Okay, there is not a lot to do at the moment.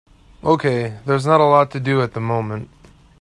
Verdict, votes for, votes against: rejected, 0, 2